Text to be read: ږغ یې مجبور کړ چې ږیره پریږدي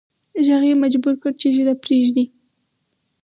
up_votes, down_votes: 4, 2